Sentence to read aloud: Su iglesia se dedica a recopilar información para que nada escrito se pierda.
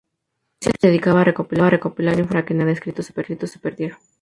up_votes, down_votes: 0, 2